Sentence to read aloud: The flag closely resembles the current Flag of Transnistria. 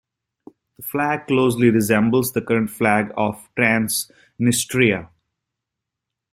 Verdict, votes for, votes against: rejected, 0, 2